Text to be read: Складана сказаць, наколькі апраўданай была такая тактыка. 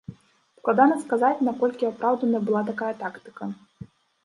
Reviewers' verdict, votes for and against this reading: accepted, 2, 0